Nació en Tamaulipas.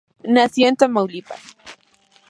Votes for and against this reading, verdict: 4, 0, accepted